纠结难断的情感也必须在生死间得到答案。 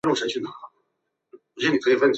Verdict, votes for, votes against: rejected, 0, 4